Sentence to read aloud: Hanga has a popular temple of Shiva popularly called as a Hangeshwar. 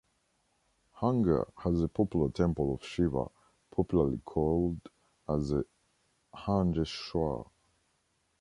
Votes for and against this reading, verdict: 0, 2, rejected